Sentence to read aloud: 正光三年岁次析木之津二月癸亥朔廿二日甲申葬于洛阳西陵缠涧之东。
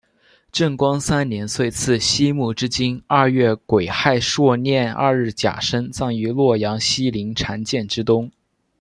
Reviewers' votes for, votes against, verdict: 2, 0, accepted